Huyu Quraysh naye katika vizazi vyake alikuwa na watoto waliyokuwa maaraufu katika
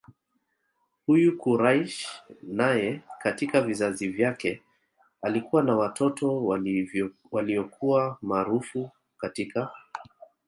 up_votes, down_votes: 2, 1